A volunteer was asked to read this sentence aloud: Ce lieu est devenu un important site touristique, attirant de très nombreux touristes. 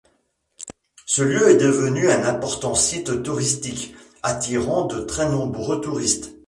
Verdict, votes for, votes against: rejected, 1, 2